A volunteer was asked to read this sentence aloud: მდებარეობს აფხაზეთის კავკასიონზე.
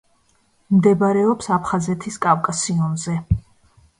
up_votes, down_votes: 2, 0